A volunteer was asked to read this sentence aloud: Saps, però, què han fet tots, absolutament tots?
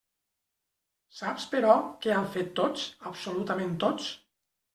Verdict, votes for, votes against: accepted, 3, 0